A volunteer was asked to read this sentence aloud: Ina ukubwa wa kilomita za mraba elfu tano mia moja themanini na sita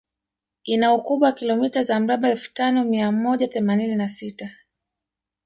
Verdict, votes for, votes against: rejected, 1, 2